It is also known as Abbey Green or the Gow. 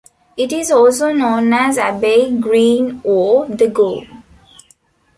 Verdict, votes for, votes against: accepted, 2, 0